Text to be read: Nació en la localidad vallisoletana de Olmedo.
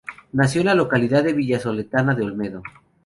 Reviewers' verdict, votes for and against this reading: rejected, 0, 4